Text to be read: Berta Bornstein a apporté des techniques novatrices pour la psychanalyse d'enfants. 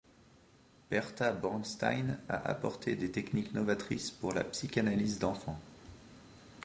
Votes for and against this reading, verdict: 2, 0, accepted